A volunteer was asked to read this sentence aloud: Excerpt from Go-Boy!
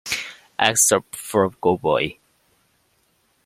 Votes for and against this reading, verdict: 0, 2, rejected